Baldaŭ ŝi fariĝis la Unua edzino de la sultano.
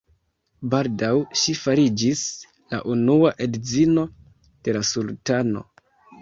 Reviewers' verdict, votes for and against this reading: accepted, 2, 0